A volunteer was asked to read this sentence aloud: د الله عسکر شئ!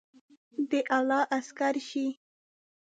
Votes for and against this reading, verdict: 0, 2, rejected